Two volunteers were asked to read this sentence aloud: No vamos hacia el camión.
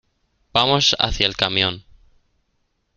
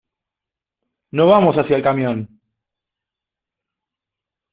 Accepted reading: second